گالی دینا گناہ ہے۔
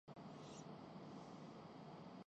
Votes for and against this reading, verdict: 0, 2, rejected